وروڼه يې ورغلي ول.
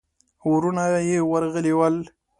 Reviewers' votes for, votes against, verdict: 2, 0, accepted